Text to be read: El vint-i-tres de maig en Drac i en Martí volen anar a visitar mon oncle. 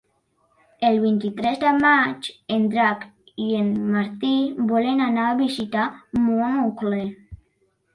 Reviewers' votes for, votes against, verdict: 3, 1, accepted